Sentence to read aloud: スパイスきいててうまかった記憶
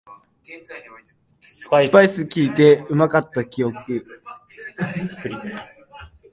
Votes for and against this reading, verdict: 0, 2, rejected